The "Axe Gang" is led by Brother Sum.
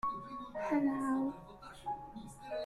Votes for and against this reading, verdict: 1, 2, rejected